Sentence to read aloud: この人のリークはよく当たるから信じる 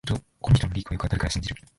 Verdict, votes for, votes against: rejected, 1, 2